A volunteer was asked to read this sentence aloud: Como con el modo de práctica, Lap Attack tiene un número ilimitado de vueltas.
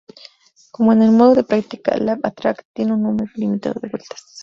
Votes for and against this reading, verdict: 0, 2, rejected